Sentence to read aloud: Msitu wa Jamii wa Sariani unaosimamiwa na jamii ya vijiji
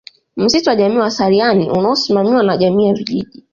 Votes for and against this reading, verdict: 2, 0, accepted